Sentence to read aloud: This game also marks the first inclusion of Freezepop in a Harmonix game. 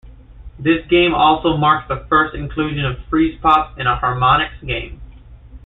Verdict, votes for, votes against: accepted, 2, 0